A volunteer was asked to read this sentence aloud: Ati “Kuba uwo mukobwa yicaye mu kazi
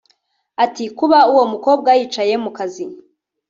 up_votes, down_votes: 1, 2